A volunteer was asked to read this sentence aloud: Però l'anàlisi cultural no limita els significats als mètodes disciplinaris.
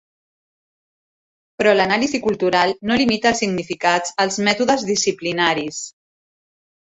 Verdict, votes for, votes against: accepted, 2, 0